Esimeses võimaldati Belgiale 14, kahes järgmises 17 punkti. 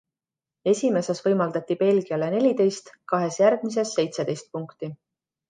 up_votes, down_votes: 0, 2